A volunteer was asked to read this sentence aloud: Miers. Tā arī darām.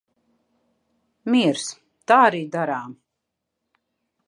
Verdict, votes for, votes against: accepted, 2, 1